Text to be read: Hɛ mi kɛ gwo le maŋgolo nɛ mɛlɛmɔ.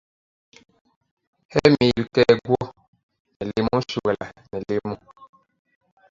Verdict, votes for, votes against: rejected, 0, 2